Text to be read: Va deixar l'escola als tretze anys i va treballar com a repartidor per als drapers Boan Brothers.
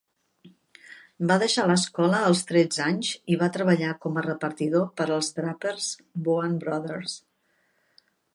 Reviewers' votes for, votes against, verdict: 2, 0, accepted